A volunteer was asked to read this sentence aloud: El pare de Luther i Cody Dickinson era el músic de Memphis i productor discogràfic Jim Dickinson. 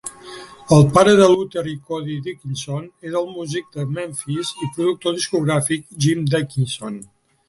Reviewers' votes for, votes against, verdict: 3, 0, accepted